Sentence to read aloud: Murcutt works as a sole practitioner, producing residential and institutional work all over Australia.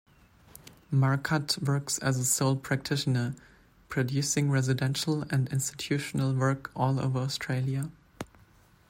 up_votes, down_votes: 2, 0